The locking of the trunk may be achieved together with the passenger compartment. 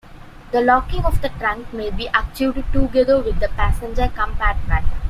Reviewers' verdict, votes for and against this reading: accepted, 2, 0